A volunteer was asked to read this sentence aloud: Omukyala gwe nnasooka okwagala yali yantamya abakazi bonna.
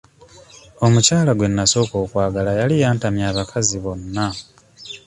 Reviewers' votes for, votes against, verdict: 2, 0, accepted